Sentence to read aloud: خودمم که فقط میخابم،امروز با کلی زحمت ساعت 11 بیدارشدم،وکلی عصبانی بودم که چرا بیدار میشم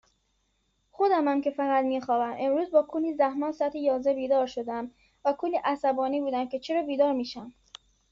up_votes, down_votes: 0, 2